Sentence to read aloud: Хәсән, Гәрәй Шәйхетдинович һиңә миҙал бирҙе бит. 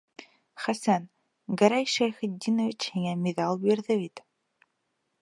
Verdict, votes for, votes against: accepted, 2, 0